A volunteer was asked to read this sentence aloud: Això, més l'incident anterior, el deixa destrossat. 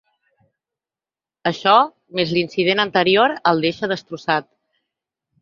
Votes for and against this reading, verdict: 6, 0, accepted